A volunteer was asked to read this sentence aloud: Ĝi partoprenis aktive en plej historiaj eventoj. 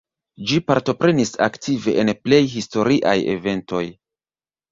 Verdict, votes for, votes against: rejected, 1, 2